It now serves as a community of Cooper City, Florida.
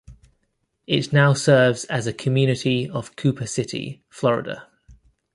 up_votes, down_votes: 1, 2